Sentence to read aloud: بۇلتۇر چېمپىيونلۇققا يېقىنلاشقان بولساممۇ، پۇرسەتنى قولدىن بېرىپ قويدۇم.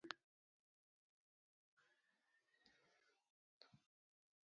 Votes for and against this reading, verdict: 0, 3, rejected